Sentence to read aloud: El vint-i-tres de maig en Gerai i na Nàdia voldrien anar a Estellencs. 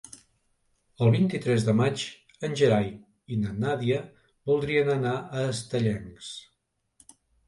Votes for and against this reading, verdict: 3, 0, accepted